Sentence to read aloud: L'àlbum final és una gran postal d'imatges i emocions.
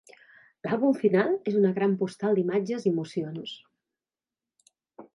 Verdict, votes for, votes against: accepted, 3, 0